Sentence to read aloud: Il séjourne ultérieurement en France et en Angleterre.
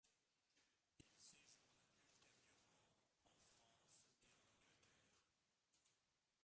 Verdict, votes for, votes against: rejected, 0, 2